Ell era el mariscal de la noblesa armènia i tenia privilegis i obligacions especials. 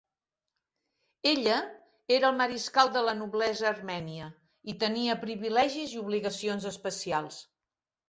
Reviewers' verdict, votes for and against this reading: rejected, 0, 2